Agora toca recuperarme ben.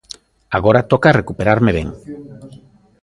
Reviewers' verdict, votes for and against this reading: accepted, 2, 0